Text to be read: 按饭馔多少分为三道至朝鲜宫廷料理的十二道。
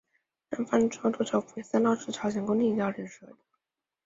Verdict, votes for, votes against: rejected, 0, 2